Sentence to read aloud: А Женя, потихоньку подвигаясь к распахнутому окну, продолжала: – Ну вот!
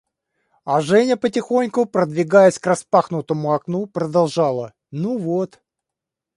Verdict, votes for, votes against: rejected, 0, 2